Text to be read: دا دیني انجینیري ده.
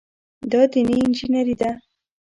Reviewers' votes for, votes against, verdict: 1, 2, rejected